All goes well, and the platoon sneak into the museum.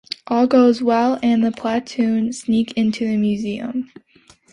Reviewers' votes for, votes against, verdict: 2, 0, accepted